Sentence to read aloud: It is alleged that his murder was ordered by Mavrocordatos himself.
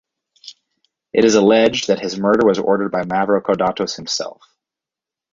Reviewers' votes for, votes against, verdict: 2, 2, rejected